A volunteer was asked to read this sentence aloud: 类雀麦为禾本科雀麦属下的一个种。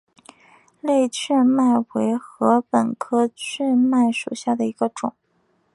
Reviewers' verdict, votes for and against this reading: accepted, 3, 0